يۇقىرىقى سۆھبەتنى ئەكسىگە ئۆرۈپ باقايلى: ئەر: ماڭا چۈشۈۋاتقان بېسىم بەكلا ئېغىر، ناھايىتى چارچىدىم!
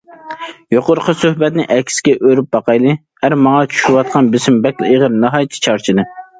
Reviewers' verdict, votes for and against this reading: accepted, 2, 0